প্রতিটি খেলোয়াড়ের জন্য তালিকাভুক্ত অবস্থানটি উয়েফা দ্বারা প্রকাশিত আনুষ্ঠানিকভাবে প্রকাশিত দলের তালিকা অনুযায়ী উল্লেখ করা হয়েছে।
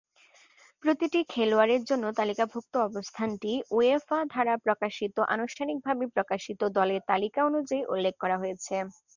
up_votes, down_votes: 0, 2